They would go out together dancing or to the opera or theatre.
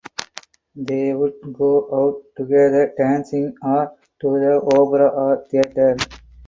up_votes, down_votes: 4, 0